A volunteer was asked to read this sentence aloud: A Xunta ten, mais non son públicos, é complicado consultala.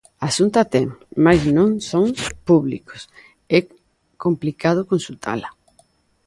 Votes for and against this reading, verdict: 2, 0, accepted